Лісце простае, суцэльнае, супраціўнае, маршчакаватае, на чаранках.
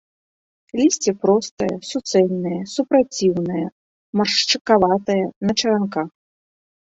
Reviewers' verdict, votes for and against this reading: accepted, 2, 0